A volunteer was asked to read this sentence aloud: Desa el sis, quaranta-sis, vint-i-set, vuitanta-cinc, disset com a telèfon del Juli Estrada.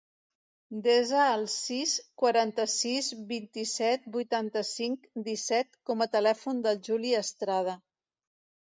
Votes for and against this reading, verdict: 2, 0, accepted